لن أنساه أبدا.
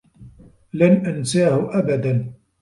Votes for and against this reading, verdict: 0, 2, rejected